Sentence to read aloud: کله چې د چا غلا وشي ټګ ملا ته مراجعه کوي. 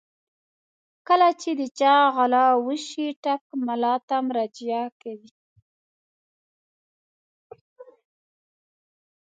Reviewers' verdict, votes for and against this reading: rejected, 1, 2